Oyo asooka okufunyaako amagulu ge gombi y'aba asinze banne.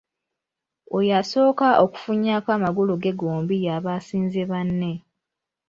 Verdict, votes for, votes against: rejected, 1, 2